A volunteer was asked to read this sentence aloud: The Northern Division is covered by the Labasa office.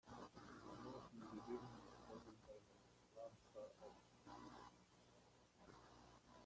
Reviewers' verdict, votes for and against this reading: rejected, 1, 2